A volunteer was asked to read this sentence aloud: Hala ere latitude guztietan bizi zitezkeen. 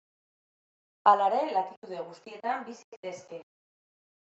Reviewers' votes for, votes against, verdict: 2, 1, accepted